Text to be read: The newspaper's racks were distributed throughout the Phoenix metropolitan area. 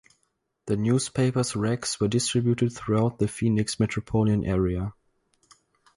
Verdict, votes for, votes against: rejected, 2, 2